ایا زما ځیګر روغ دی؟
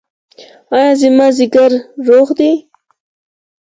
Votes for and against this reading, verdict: 4, 0, accepted